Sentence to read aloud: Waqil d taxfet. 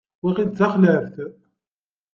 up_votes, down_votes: 0, 2